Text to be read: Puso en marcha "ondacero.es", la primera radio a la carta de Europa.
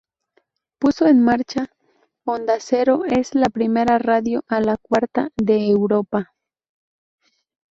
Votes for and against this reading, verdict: 0, 2, rejected